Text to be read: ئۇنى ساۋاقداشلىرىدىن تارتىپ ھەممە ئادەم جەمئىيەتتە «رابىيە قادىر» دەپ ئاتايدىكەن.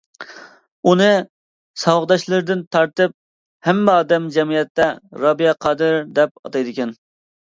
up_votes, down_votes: 2, 0